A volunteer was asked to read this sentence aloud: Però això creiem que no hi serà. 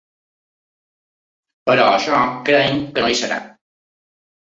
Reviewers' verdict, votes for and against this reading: accepted, 2, 1